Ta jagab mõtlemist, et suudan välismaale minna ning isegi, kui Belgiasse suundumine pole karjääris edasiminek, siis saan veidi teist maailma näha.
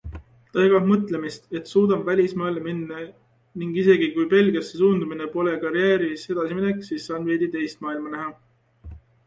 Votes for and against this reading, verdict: 2, 0, accepted